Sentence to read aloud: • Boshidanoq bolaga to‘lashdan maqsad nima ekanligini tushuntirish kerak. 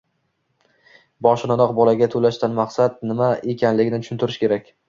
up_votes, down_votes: 2, 0